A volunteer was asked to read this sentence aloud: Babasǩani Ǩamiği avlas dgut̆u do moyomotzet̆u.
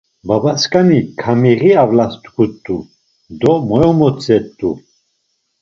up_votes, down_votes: 2, 0